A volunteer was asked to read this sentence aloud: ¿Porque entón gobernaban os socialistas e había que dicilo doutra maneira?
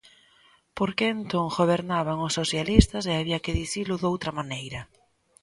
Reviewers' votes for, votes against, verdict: 2, 0, accepted